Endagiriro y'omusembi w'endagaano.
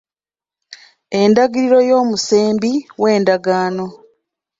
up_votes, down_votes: 2, 0